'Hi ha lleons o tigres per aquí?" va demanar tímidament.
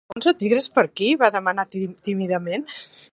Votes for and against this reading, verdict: 0, 2, rejected